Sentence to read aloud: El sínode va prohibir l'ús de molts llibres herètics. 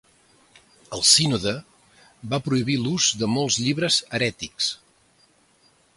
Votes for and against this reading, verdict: 2, 0, accepted